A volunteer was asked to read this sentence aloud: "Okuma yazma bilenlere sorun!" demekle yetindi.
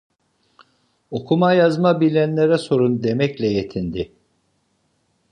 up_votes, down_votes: 2, 0